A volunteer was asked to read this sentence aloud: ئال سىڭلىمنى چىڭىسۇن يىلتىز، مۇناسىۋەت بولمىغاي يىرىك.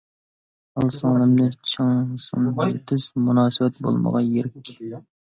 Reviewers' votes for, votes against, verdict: 1, 2, rejected